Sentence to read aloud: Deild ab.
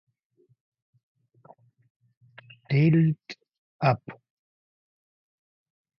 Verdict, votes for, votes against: rejected, 0, 2